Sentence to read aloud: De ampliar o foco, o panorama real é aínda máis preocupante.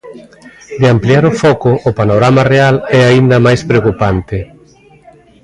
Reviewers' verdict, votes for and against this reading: rejected, 0, 2